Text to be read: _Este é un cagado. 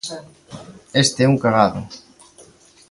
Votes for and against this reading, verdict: 2, 0, accepted